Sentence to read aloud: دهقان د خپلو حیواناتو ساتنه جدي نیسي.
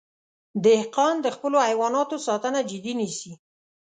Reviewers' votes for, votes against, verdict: 3, 0, accepted